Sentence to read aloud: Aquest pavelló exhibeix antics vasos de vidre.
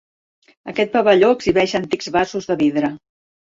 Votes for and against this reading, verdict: 2, 0, accepted